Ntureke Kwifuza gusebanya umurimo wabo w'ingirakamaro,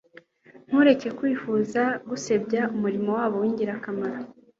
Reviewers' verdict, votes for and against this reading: accepted, 2, 0